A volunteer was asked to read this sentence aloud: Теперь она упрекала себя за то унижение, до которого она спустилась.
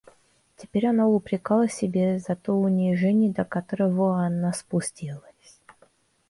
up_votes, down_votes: 0, 2